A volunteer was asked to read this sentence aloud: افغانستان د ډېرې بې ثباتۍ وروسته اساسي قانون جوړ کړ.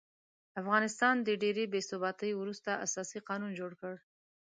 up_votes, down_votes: 2, 0